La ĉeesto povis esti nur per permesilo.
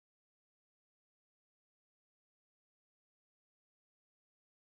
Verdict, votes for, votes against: rejected, 0, 2